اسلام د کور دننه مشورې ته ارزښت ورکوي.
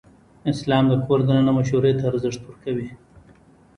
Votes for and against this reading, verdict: 1, 2, rejected